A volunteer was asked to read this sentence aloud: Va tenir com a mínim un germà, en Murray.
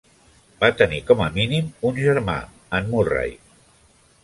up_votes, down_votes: 2, 0